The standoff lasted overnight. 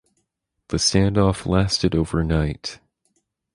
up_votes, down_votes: 2, 2